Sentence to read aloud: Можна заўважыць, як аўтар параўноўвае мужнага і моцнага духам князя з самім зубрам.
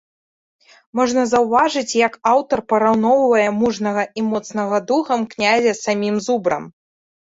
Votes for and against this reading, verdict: 2, 0, accepted